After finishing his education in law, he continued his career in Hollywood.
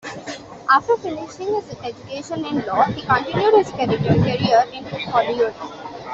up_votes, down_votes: 0, 3